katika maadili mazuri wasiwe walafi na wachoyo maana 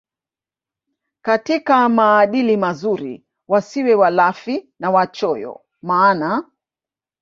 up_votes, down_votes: 2, 0